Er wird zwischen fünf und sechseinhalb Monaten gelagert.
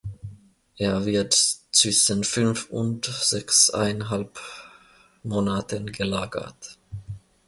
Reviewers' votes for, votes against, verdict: 0, 2, rejected